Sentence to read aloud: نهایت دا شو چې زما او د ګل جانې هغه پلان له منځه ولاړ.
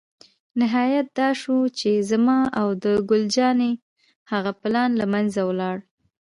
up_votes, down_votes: 0, 2